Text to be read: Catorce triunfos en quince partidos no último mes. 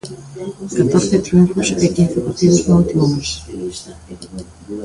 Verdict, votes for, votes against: rejected, 0, 2